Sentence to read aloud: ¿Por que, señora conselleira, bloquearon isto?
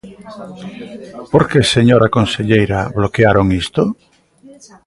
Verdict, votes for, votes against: rejected, 0, 2